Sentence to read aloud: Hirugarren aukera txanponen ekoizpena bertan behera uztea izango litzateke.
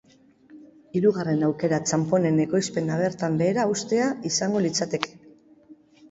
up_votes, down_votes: 2, 0